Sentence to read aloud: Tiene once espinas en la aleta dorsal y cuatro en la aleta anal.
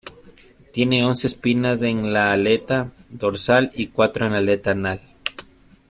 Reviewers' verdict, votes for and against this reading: rejected, 1, 2